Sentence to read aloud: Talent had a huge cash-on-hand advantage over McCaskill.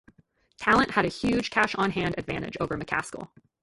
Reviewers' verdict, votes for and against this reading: rejected, 0, 2